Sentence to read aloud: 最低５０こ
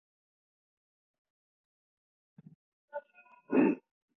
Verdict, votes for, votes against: rejected, 0, 2